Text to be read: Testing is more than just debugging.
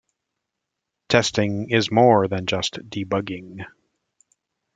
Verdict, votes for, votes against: accepted, 3, 0